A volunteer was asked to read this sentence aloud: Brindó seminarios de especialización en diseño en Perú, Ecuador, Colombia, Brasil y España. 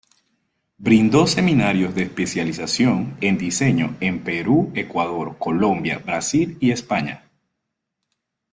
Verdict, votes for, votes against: accepted, 2, 0